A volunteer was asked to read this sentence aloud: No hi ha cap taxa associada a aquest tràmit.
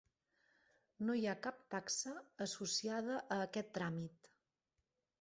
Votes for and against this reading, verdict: 2, 0, accepted